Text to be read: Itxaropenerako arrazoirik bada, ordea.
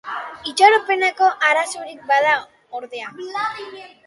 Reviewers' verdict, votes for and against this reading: rejected, 2, 2